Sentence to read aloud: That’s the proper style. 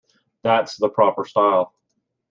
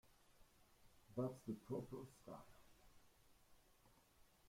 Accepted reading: first